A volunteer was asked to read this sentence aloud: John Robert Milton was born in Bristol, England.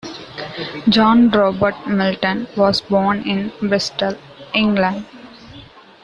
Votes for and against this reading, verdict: 2, 0, accepted